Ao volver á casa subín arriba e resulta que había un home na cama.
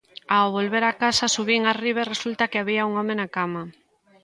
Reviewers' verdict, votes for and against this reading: accepted, 2, 0